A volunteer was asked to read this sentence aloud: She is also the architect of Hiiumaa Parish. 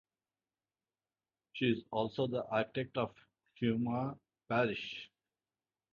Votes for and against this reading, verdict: 2, 0, accepted